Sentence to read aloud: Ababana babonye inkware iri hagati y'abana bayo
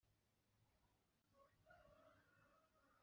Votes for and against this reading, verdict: 1, 2, rejected